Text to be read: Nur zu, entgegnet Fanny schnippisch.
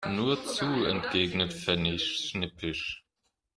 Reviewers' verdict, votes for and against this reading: rejected, 1, 2